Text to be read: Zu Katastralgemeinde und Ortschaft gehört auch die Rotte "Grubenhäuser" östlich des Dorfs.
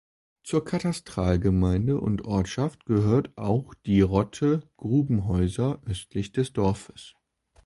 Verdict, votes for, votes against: rejected, 1, 3